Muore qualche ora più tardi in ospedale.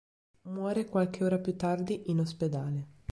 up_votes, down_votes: 3, 0